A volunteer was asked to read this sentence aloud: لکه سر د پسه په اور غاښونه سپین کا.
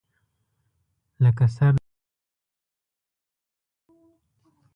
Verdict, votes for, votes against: rejected, 0, 2